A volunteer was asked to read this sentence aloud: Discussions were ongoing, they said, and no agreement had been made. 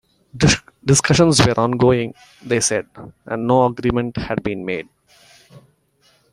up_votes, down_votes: 0, 2